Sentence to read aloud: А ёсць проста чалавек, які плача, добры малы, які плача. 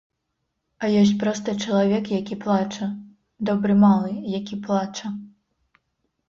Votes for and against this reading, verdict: 2, 1, accepted